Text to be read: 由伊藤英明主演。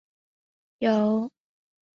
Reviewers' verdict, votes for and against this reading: rejected, 0, 2